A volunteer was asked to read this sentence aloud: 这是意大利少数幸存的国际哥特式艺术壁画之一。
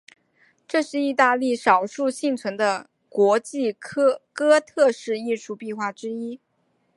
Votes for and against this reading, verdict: 1, 4, rejected